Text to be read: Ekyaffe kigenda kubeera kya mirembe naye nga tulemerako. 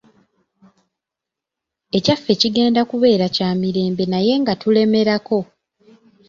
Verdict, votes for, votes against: accepted, 3, 0